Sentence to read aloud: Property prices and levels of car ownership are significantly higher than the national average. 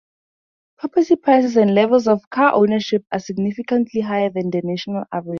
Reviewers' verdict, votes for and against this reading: rejected, 2, 2